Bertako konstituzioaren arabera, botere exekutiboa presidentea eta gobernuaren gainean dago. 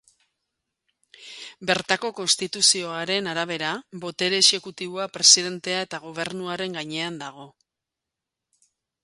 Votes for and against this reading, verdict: 2, 0, accepted